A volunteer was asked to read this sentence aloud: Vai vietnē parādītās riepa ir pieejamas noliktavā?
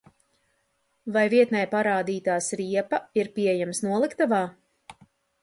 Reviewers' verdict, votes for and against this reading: rejected, 0, 2